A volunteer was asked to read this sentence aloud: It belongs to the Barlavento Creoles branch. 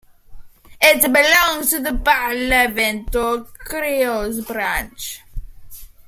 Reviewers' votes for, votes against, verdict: 2, 1, accepted